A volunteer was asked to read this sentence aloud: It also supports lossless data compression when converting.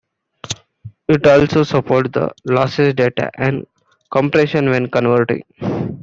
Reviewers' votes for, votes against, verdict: 1, 2, rejected